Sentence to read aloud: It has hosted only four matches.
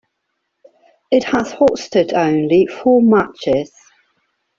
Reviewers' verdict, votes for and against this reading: accepted, 2, 0